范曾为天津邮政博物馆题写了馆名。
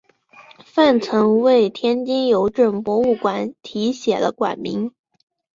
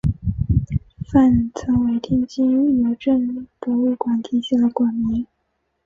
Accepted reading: first